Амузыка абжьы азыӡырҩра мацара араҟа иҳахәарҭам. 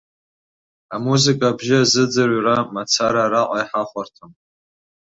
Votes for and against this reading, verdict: 4, 1, accepted